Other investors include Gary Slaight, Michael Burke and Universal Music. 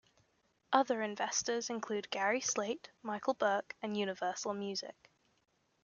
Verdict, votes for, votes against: accepted, 2, 0